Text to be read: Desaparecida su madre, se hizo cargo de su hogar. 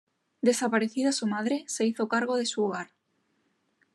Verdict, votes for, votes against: accepted, 2, 0